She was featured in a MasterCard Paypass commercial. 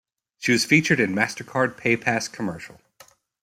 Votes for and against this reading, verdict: 0, 2, rejected